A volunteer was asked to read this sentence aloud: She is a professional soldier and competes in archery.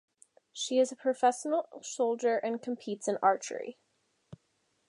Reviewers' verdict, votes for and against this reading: rejected, 0, 2